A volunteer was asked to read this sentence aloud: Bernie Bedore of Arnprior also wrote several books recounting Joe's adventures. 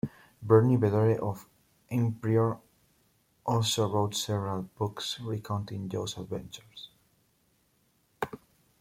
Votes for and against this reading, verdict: 2, 1, accepted